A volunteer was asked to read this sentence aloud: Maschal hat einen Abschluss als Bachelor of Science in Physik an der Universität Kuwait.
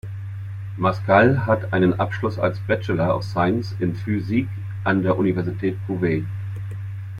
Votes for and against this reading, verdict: 1, 2, rejected